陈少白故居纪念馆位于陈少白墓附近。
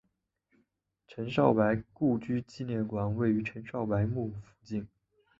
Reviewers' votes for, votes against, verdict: 3, 0, accepted